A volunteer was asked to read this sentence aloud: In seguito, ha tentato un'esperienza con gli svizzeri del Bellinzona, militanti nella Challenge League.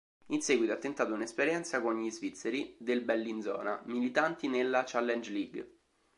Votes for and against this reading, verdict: 2, 0, accepted